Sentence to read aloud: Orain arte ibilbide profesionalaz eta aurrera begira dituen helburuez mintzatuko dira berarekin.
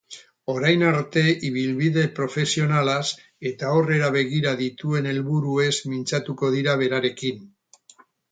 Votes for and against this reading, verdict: 6, 0, accepted